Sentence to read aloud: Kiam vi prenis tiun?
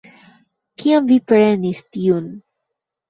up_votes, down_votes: 2, 1